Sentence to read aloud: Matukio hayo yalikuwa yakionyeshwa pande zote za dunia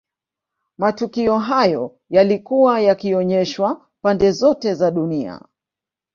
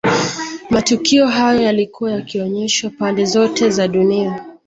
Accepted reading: second